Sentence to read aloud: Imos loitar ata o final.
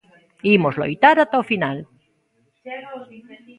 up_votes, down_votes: 2, 0